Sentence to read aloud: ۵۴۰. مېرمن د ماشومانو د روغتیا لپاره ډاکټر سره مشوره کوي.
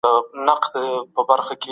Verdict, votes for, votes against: rejected, 0, 2